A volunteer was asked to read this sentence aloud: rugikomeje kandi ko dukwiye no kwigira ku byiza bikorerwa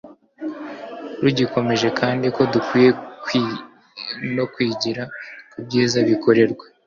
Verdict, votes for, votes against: rejected, 0, 2